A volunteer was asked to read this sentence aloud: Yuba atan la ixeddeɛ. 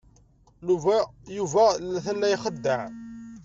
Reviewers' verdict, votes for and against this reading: rejected, 0, 2